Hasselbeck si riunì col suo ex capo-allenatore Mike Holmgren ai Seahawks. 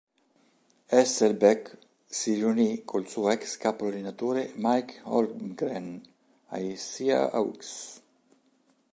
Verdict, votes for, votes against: rejected, 1, 3